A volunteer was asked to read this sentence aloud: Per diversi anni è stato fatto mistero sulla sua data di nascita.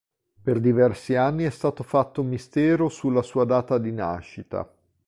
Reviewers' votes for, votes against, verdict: 2, 0, accepted